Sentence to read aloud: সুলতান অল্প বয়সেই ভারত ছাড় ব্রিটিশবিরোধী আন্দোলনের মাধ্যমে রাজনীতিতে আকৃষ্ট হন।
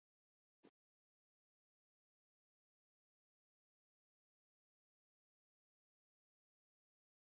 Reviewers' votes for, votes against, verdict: 0, 2, rejected